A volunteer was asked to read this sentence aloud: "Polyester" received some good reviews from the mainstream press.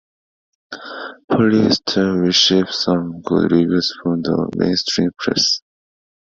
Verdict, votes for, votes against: accepted, 2, 0